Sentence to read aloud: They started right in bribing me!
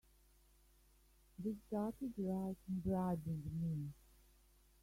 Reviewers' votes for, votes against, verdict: 0, 2, rejected